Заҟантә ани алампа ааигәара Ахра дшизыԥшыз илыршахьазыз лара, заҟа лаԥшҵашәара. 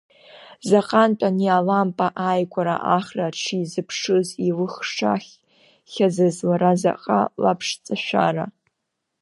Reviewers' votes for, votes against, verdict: 0, 2, rejected